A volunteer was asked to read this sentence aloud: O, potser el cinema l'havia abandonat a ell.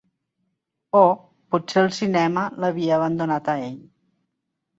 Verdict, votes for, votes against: accepted, 2, 1